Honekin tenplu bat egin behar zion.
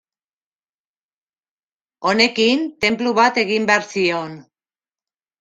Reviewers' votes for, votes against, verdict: 2, 0, accepted